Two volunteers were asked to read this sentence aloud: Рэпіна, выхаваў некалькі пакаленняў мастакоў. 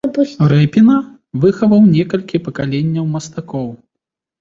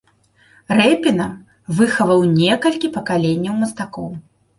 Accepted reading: second